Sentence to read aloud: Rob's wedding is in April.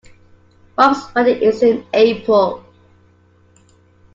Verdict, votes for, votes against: accepted, 2, 0